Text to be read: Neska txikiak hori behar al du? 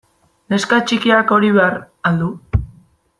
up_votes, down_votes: 1, 2